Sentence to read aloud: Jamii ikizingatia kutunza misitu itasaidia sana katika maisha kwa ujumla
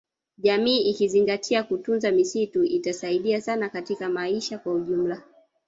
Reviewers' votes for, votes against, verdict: 0, 2, rejected